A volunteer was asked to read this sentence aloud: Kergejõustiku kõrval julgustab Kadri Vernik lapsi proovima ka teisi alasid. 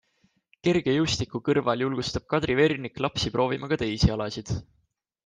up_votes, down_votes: 2, 0